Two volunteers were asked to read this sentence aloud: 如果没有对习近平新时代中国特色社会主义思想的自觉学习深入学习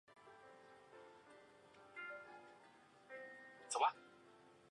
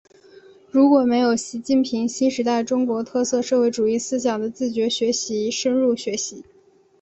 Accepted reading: second